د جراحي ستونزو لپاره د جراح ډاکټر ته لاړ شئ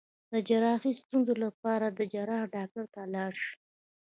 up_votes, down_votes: 2, 0